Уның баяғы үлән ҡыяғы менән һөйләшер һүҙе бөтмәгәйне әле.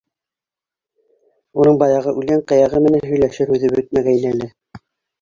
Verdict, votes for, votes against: rejected, 1, 3